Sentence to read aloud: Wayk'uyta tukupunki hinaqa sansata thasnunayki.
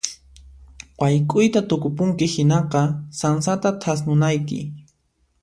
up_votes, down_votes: 2, 0